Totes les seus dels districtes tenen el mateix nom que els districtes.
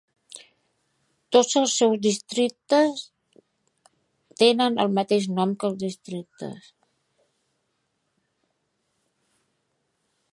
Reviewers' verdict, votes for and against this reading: rejected, 2, 3